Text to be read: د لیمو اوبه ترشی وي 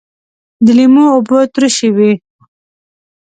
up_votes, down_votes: 2, 0